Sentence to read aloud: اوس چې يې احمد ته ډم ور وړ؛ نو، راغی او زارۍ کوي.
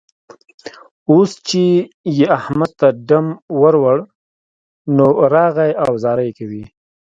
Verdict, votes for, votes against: rejected, 1, 2